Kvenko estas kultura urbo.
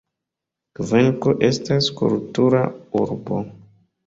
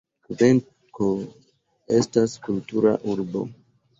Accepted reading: first